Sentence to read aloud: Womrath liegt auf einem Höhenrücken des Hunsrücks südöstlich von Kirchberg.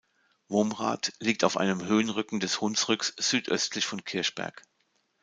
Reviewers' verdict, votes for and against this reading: accepted, 2, 0